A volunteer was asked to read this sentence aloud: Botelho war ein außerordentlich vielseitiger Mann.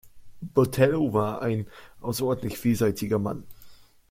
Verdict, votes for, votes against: accepted, 2, 0